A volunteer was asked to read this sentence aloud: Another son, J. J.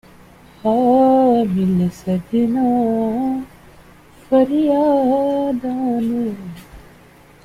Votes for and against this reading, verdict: 0, 2, rejected